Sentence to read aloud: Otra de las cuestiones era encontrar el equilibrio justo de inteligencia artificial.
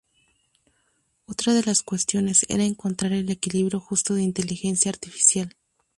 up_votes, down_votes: 0, 2